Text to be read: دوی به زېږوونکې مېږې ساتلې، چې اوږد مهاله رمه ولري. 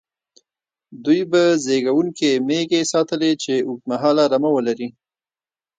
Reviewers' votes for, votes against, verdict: 1, 2, rejected